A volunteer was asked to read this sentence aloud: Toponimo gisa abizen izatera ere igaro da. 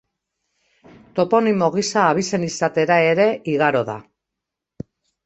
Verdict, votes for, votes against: accepted, 2, 0